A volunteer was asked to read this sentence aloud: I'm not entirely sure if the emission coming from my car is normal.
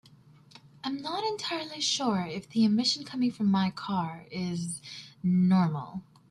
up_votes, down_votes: 2, 0